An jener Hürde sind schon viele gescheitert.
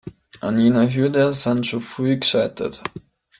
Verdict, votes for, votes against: rejected, 1, 2